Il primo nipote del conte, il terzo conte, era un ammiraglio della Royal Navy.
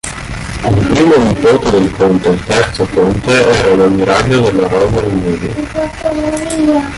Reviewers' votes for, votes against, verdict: 0, 2, rejected